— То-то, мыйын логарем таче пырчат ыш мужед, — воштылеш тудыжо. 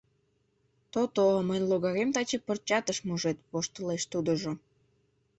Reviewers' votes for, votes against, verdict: 2, 0, accepted